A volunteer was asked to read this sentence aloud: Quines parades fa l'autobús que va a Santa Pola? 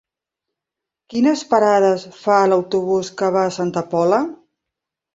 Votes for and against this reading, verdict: 2, 0, accepted